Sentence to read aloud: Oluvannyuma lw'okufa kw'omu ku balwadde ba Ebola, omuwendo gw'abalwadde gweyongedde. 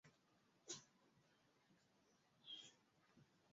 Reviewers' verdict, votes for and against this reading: rejected, 0, 2